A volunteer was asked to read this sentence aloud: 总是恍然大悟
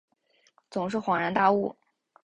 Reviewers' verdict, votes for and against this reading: accepted, 2, 0